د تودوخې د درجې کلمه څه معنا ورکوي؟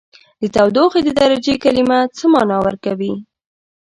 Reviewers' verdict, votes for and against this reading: accepted, 2, 0